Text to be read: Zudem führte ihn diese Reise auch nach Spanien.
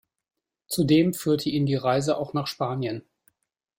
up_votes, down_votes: 1, 2